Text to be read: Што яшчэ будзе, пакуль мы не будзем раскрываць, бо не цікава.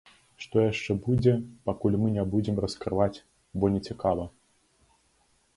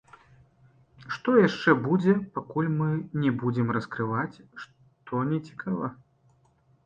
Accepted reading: first